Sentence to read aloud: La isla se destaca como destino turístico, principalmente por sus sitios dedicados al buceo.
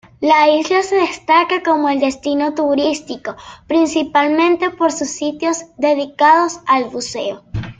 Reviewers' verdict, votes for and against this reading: accepted, 2, 1